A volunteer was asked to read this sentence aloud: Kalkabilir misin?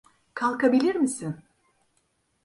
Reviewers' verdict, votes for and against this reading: accepted, 2, 0